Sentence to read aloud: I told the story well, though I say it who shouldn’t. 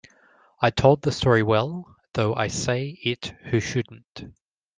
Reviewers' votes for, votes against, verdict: 2, 0, accepted